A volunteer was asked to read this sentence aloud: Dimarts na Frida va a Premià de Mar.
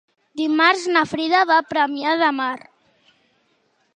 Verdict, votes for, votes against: accepted, 3, 0